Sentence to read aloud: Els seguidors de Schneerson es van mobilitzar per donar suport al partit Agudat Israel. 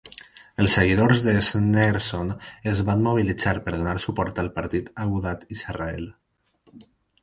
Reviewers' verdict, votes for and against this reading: rejected, 2, 4